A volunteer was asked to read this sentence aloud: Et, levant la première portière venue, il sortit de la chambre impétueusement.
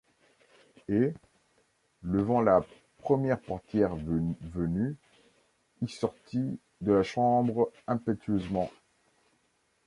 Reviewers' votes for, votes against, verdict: 0, 2, rejected